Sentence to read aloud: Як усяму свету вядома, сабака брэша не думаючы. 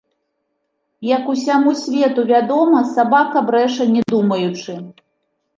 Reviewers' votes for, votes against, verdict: 2, 0, accepted